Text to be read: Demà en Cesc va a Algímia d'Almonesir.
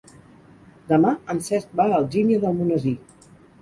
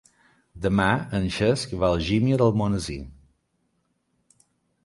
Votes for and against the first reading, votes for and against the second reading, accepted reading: 0, 4, 2, 0, second